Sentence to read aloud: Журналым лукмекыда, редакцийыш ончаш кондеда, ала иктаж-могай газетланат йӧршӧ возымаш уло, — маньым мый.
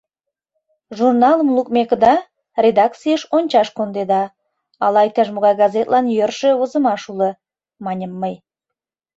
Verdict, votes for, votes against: rejected, 1, 2